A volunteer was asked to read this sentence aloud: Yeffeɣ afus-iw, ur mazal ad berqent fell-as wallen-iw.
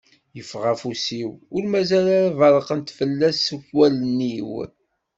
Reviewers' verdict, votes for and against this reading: accepted, 2, 0